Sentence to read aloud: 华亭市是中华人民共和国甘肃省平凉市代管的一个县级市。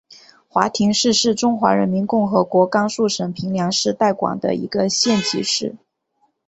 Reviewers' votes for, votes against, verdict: 4, 0, accepted